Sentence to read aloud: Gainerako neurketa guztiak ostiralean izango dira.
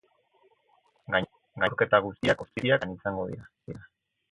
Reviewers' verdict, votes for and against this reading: rejected, 0, 4